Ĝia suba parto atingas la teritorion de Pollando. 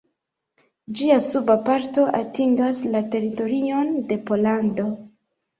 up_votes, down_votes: 0, 2